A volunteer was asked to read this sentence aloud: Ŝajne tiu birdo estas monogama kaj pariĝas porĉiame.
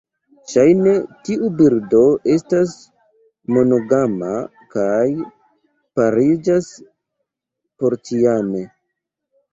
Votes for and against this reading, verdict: 1, 2, rejected